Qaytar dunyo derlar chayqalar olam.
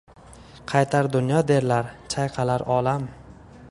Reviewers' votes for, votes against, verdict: 2, 0, accepted